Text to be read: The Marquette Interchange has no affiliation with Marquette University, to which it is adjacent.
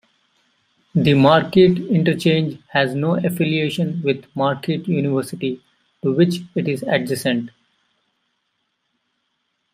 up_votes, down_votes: 2, 0